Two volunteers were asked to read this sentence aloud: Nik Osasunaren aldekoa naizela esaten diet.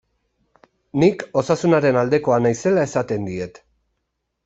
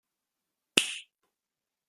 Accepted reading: first